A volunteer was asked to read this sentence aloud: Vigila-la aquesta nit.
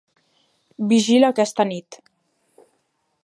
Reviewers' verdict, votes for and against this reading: rejected, 0, 2